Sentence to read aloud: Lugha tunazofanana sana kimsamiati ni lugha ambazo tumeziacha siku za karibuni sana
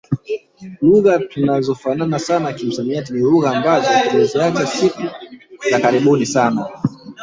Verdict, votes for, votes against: rejected, 1, 2